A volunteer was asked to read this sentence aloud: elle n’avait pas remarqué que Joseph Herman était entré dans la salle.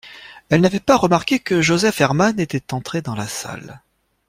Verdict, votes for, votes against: accepted, 2, 0